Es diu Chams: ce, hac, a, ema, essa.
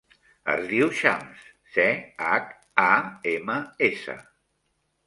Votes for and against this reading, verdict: 2, 0, accepted